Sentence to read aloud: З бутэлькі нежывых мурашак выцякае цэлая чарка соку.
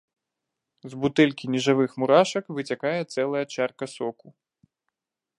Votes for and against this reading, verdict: 2, 0, accepted